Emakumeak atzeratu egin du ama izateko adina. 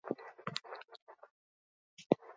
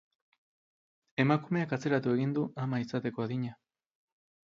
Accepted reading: second